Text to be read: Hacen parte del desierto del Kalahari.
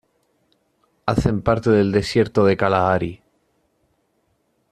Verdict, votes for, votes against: rejected, 1, 2